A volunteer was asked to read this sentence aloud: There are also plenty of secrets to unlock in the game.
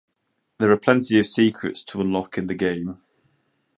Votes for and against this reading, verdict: 1, 2, rejected